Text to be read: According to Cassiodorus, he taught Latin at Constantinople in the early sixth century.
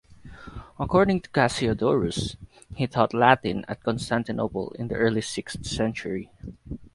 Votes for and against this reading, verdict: 4, 0, accepted